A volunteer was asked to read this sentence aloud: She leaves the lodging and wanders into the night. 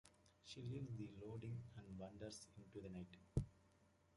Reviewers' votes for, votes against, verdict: 0, 2, rejected